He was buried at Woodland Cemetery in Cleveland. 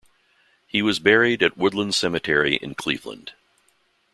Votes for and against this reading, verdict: 2, 0, accepted